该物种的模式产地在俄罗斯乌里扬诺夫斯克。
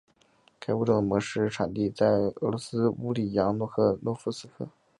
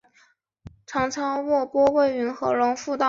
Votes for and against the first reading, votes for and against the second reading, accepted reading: 3, 0, 0, 3, first